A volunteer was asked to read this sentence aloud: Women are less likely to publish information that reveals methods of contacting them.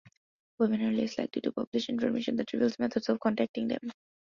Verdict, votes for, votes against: accepted, 2, 0